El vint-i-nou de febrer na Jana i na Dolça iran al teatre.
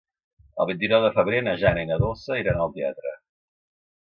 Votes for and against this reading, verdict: 3, 0, accepted